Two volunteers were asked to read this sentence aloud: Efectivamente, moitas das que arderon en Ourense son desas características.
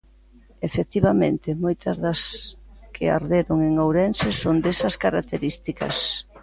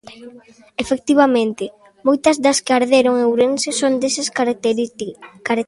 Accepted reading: first